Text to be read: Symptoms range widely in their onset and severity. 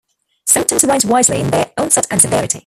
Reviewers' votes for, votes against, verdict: 0, 2, rejected